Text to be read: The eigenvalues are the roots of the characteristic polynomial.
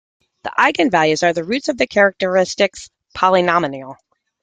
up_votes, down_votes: 1, 2